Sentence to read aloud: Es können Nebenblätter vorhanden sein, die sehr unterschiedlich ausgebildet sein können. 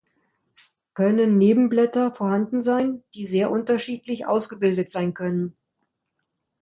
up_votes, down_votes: 0, 2